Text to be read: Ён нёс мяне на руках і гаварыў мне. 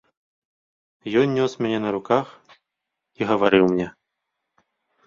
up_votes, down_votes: 2, 0